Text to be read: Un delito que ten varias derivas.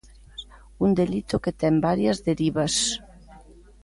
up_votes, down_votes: 2, 0